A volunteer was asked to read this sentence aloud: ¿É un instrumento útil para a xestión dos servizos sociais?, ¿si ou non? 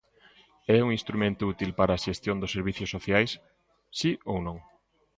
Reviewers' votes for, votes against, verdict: 0, 2, rejected